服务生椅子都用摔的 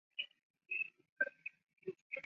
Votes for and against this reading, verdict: 0, 4, rejected